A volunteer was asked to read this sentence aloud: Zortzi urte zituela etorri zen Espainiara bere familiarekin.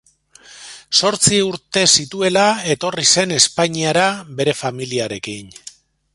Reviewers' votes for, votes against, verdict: 2, 0, accepted